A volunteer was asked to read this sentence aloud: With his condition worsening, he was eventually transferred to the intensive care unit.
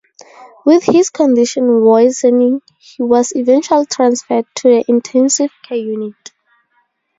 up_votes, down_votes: 2, 2